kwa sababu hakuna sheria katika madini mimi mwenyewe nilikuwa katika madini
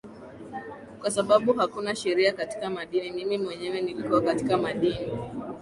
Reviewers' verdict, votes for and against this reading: rejected, 1, 3